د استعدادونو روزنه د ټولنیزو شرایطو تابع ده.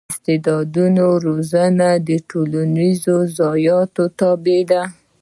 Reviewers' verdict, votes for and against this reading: accepted, 4, 0